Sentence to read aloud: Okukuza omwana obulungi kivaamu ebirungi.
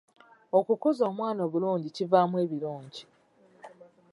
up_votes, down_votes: 2, 0